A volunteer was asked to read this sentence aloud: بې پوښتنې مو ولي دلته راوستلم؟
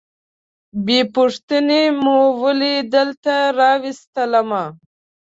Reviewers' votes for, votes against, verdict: 1, 2, rejected